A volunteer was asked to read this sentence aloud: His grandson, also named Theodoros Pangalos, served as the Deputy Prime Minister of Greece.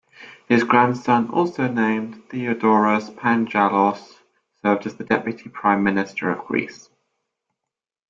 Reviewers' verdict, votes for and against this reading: rejected, 0, 2